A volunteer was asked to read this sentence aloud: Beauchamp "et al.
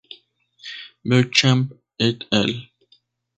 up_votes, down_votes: 0, 2